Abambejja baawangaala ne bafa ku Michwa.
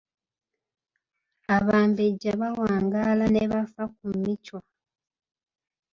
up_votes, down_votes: 3, 2